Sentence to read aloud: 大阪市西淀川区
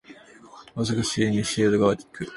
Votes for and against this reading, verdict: 1, 3, rejected